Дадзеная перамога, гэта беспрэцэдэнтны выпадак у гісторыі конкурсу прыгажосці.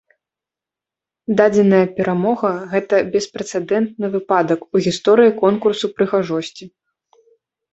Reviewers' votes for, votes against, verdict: 1, 2, rejected